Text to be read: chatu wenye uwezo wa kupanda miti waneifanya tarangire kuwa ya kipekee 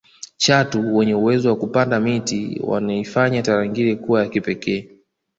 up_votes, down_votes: 2, 0